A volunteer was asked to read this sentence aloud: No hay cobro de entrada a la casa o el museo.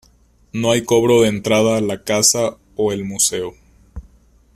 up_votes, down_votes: 2, 0